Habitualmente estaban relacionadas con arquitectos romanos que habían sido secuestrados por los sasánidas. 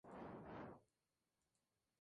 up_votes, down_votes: 0, 2